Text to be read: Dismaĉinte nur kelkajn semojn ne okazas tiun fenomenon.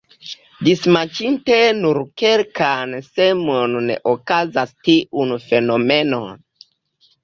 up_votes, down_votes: 1, 2